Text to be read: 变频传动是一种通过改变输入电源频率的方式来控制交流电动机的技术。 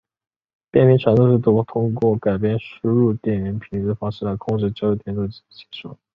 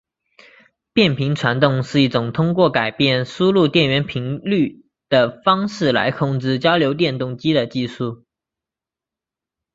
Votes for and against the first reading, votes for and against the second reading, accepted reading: 0, 3, 3, 1, second